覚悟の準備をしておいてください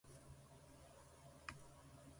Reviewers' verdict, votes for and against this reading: rejected, 1, 2